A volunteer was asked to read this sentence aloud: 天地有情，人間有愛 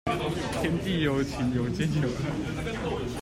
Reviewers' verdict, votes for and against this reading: rejected, 1, 2